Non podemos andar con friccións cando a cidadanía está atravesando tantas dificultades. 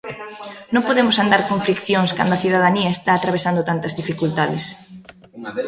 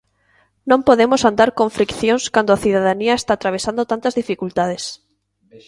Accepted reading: second